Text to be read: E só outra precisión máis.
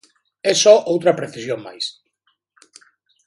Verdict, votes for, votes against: accepted, 3, 0